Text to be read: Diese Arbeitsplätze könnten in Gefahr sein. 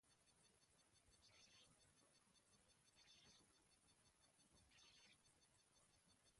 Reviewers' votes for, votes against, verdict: 0, 2, rejected